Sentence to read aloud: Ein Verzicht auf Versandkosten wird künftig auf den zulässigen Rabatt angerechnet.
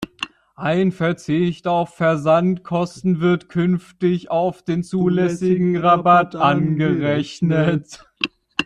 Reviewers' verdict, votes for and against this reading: rejected, 0, 2